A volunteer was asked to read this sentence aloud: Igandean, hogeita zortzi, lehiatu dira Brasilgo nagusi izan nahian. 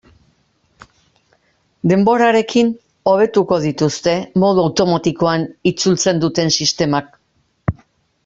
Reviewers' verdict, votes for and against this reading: rejected, 0, 2